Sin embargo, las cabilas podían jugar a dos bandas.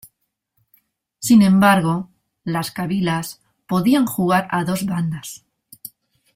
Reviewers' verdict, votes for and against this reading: accepted, 2, 0